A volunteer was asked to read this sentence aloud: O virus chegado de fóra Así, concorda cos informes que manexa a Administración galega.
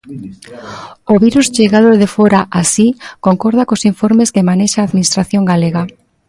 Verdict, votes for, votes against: rejected, 1, 2